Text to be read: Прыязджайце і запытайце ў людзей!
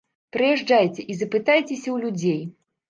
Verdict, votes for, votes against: rejected, 1, 2